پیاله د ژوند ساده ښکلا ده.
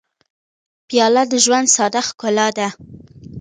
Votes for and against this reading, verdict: 2, 0, accepted